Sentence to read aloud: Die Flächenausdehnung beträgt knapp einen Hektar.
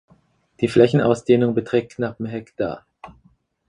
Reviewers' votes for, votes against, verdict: 2, 4, rejected